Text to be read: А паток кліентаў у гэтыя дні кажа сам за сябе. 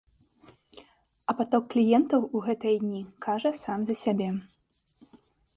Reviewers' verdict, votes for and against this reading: accepted, 2, 0